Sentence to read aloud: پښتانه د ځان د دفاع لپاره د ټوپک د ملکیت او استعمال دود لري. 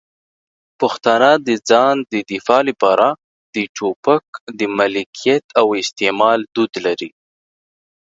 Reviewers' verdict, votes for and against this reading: accepted, 2, 0